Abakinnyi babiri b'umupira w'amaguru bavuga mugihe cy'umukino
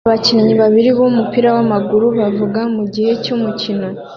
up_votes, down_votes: 2, 0